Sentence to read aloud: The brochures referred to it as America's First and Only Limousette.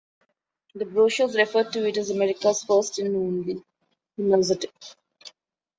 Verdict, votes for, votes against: rejected, 1, 2